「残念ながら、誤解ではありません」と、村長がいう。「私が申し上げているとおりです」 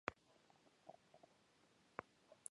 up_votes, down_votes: 0, 2